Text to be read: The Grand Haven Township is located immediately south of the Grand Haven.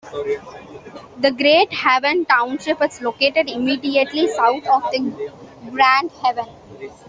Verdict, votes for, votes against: accepted, 2, 1